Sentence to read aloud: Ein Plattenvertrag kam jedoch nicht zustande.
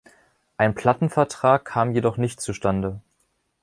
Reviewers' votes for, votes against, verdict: 2, 0, accepted